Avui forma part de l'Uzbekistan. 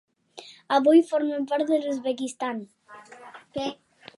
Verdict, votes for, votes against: rejected, 1, 2